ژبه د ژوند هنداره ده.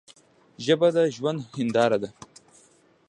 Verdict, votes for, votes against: accepted, 2, 0